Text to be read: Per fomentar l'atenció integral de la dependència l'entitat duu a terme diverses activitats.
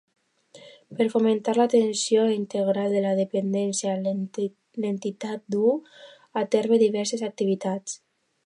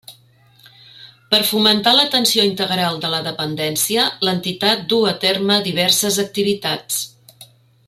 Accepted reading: second